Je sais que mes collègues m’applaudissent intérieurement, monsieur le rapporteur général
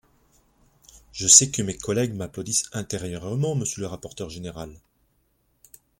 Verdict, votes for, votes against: rejected, 0, 2